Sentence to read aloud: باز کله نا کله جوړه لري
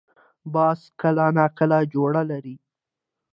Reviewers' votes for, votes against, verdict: 2, 0, accepted